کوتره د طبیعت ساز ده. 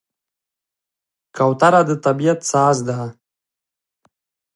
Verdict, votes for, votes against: rejected, 1, 2